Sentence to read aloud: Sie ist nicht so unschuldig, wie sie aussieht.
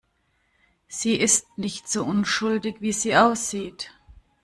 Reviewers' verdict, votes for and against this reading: accepted, 2, 0